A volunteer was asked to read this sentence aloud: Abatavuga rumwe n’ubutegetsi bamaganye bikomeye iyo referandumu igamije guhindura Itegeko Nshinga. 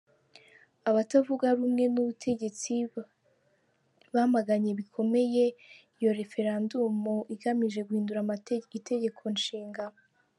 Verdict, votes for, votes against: rejected, 0, 3